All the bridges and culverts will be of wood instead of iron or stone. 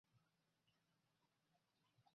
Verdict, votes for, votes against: rejected, 0, 2